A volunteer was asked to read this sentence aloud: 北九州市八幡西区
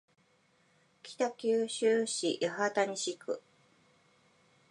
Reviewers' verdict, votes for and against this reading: accepted, 2, 0